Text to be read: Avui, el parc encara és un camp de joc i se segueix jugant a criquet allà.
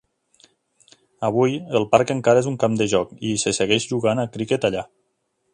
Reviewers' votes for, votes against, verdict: 3, 0, accepted